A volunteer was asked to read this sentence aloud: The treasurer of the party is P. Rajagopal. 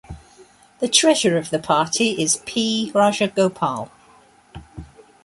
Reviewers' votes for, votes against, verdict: 3, 0, accepted